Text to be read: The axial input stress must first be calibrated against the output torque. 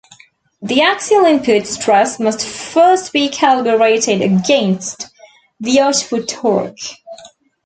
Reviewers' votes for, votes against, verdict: 0, 2, rejected